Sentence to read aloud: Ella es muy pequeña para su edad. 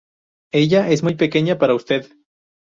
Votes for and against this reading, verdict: 2, 0, accepted